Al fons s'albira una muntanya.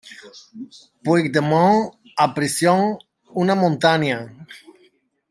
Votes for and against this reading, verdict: 0, 2, rejected